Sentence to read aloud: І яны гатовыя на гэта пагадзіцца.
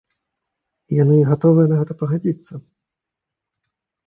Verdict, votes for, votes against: accepted, 2, 0